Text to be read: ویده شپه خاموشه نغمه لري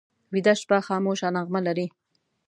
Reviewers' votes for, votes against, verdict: 2, 0, accepted